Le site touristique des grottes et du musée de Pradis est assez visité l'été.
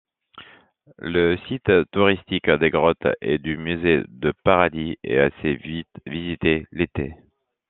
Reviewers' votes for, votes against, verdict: 0, 2, rejected